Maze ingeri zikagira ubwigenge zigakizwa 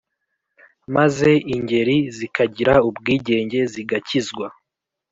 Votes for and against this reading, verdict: 3, 0, accepted